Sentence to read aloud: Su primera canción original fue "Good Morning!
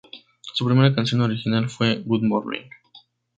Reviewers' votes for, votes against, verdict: 0, 2, rejected